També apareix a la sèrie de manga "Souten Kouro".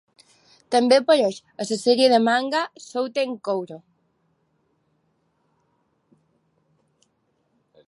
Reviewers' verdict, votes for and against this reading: rejected, 0, 2